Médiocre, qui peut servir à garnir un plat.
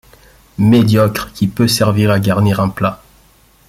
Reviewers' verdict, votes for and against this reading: accepted, 2, 0